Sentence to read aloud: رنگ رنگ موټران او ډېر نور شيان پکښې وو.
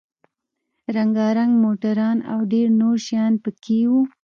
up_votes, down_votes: 2, 0